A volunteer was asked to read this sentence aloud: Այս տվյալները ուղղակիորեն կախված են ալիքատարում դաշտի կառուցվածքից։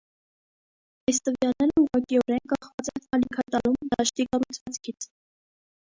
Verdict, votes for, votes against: rejected, 0, 2